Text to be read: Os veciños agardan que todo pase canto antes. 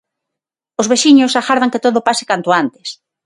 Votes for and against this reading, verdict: 6, 0, accepted